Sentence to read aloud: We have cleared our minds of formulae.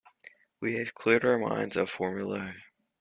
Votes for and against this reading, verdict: 2, 1, accepted